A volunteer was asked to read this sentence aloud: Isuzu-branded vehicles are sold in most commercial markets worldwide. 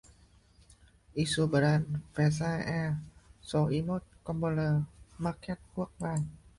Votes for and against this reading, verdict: 0, 2, rejected